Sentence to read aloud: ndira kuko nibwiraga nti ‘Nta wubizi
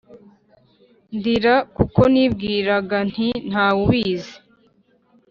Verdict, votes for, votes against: accepted, 4, 0